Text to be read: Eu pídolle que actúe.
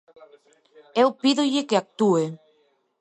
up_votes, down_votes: 2, 0